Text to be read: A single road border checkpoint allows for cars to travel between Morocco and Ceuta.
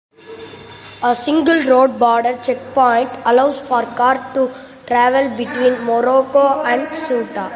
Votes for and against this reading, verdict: 1, 2, rejected